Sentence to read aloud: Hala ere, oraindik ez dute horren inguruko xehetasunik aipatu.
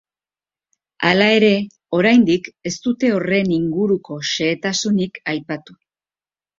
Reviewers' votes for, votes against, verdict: 4, 0, accepted